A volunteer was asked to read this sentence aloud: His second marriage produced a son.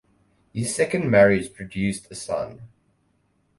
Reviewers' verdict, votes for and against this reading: accepted, 4, 0